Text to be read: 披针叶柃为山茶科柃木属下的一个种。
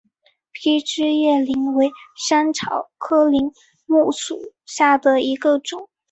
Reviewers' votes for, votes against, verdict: 4, 1, accepted